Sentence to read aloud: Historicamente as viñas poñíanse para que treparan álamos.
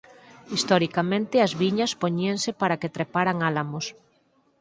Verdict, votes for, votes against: accepted, 4, 0